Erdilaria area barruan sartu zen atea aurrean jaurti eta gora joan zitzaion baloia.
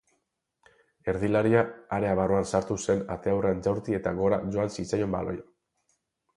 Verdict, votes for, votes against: rejected, 2, 2